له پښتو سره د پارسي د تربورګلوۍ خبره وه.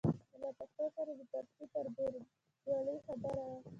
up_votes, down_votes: 0, 2